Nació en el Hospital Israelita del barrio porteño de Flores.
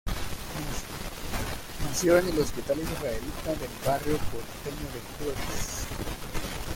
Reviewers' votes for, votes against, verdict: 0, 2, rejected